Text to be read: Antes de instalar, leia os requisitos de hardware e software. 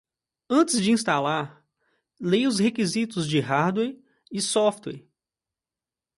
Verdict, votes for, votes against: accepted, 2, 1